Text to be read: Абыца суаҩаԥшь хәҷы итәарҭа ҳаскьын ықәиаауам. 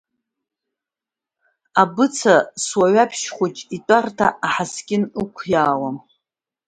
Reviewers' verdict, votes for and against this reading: accepted, 2, 0